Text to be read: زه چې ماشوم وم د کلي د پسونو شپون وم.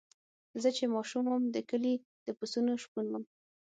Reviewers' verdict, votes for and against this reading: accepted, 6, 0